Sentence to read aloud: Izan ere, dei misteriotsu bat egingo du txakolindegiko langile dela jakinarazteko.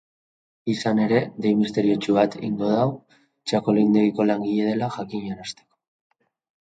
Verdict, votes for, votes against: accepted, 3, 1